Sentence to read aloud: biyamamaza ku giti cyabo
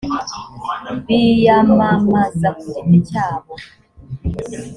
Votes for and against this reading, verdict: 3, 0, accepted